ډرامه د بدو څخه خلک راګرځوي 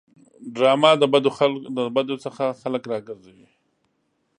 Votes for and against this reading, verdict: 0, 2, rejected